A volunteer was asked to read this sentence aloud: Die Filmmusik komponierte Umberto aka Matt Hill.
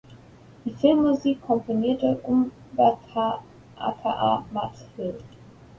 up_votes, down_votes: 0, 2